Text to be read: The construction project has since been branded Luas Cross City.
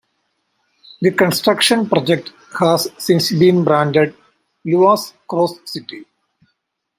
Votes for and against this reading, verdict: 1, 2, rejected